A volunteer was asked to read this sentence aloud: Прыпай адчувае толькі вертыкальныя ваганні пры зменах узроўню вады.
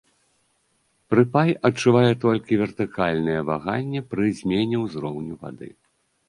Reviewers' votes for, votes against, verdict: 0, 2, rejected